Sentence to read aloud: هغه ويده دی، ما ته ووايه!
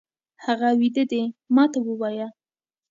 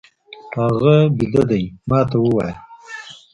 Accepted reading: first